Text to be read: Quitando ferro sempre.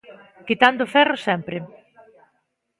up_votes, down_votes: 2, 0